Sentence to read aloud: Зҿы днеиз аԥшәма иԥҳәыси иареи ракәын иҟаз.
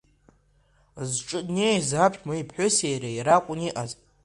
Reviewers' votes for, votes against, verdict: 1, 2, rejected